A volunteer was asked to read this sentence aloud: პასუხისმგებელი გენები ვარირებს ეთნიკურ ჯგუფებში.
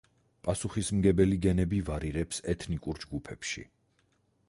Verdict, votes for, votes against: accepted, 4, 0